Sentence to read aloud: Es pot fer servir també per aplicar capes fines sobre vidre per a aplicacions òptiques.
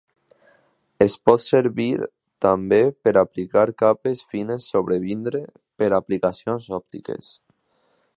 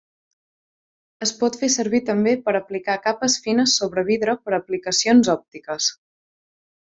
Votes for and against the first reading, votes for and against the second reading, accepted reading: 0, 2, 2, 0, second